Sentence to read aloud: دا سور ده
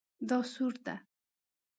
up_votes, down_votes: 2, 0